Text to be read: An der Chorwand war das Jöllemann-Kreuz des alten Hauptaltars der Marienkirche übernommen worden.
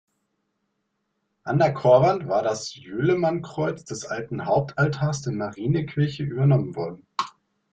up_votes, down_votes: 1, 2